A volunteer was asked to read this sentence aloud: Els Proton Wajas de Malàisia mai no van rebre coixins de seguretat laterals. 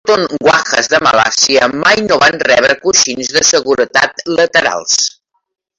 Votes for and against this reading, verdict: 0, 2, rejected